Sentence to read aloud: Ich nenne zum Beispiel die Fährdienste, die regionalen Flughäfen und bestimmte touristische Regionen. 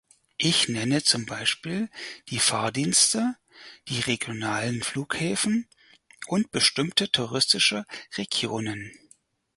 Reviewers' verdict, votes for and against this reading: rejected, 2, 6